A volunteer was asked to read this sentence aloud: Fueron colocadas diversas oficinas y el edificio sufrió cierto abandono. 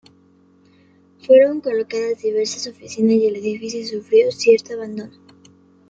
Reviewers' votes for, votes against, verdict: 1, 2, rejected